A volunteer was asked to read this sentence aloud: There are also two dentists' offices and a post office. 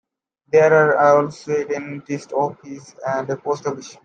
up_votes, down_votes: 0, 2